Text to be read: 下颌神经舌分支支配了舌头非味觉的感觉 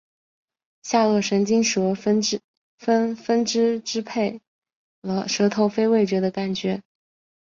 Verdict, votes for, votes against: accepted, 3, 1